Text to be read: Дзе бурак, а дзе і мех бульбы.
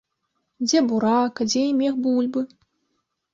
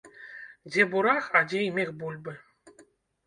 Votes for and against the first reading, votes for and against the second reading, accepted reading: 2, 1, 1, 2, first